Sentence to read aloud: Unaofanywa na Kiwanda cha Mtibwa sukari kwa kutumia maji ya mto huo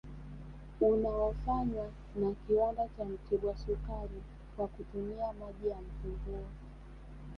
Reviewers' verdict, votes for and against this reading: rejected, 1, 2